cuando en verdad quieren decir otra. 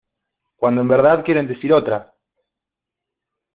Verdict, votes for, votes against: accepted, 2, 0